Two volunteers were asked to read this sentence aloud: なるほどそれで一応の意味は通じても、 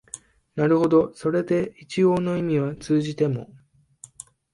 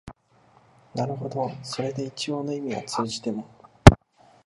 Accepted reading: first